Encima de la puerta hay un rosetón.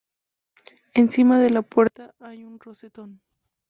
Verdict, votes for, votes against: rejected, 0, 2